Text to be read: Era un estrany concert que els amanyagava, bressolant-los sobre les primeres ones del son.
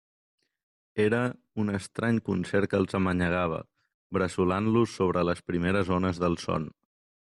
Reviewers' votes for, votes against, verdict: 2, 0, accepted